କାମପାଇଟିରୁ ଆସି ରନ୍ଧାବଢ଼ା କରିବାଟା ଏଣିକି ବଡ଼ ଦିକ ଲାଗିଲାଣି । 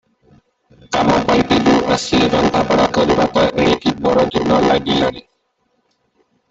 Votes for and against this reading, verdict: 0, 2, rejected